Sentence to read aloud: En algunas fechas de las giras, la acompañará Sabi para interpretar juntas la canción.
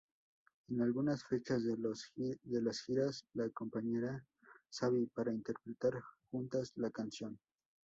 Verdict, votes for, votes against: rejected, 0, 4